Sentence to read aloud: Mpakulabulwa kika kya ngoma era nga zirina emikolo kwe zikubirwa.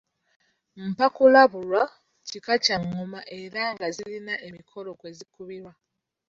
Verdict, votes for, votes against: accepted, 2, 0